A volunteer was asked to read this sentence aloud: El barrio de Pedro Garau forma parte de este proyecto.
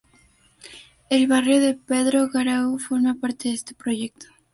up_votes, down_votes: 0, 2